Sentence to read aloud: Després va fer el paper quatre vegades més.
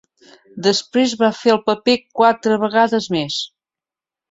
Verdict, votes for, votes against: accepted, 3, 0